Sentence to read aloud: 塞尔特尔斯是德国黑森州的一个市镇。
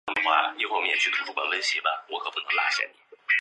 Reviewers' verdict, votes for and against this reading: rejected, 1, 2